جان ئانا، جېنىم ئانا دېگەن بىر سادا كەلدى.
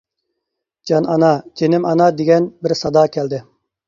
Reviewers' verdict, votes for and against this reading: accepted, 2, 0